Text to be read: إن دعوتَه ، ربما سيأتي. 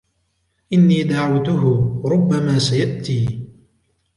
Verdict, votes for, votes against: accepted, 2, 0